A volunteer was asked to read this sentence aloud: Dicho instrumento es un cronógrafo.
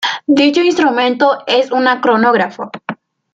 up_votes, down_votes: 1, 2